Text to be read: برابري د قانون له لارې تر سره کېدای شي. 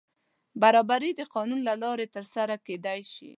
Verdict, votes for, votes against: accepted, 2, 0